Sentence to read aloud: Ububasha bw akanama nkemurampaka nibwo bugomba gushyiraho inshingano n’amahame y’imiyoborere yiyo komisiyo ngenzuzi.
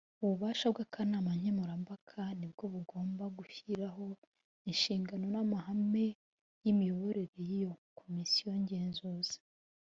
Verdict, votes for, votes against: accepted, 2, 0